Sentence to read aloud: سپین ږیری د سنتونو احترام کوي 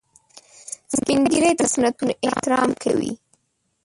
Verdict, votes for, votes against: rejected, 0, 2